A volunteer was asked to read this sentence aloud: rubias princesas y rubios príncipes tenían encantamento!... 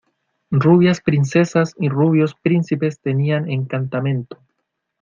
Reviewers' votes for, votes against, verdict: 2, 0, accepted